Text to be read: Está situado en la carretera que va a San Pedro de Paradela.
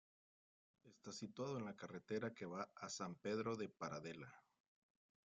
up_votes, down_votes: 1, 2